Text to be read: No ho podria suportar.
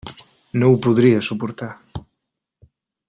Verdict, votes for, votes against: accepted, 3, 0